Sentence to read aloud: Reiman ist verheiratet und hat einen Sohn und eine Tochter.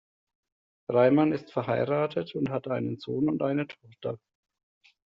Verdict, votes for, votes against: accepted, 2, 0